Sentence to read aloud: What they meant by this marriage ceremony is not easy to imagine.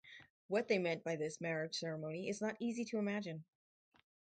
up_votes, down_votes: 4, 0